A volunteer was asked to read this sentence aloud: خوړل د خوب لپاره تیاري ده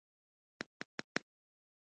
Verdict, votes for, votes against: rejected, 0, 2